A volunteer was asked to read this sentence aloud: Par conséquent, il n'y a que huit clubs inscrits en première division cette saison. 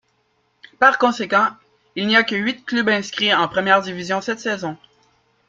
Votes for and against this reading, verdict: 2, 0, accepted